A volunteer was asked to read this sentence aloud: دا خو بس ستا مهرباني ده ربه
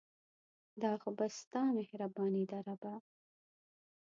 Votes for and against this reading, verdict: 2, 0, accepted